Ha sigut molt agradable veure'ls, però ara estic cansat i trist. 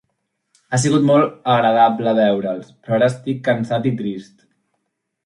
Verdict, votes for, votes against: accepted, 2, 1